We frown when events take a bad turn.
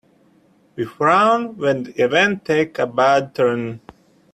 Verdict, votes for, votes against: rejected, 1, 2